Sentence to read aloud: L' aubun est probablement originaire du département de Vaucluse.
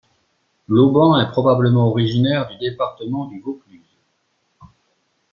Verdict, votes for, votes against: rejected, 1, 2